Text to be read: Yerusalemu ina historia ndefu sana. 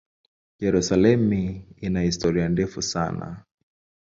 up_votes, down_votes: 3, 0